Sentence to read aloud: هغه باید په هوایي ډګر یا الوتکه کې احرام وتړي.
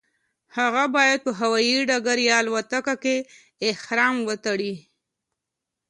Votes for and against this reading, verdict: 2, 0, accepted